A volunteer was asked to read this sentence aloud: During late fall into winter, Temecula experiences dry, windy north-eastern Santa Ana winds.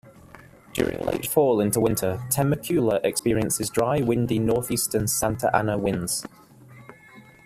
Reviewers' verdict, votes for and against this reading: accepted, 2, 1